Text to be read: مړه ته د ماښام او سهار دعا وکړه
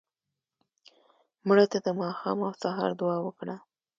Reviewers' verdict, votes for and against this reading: accepted, 2, 1